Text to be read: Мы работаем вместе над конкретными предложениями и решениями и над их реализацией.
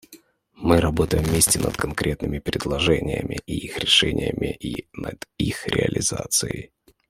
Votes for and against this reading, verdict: 0, 2, rejected